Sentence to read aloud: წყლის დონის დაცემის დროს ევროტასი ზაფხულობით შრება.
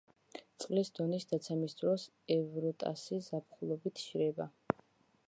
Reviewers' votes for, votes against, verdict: 2, 0, accepted